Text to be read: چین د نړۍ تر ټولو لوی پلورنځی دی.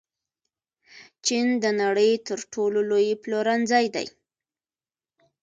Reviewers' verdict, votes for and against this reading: rejected, 1, 2